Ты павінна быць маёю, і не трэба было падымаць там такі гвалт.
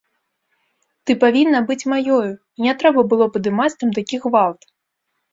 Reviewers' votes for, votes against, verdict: 0, 2, rejected